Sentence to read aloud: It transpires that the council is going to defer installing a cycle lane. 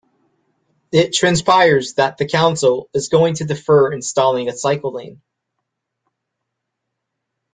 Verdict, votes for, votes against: accepted, 2, 0